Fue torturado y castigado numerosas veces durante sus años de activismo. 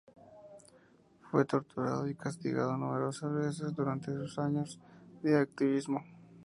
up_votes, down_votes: 4, 0